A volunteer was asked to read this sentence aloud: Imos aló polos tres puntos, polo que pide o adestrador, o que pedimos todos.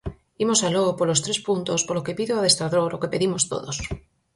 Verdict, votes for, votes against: accepted, 4, 0